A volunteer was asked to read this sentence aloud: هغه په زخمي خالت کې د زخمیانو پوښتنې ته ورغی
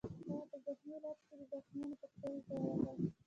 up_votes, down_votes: 3, 0